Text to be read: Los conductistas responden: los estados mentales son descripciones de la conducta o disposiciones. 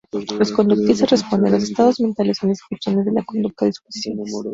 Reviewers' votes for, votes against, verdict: 0, 2, rejected